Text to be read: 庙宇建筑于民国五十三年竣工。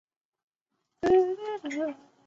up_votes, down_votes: 1, 4